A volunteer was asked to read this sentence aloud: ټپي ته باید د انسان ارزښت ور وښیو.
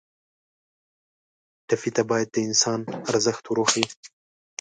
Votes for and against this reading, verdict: 2, 0, accepted